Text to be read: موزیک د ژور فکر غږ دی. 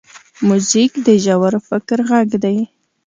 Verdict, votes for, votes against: accepted, 2, 0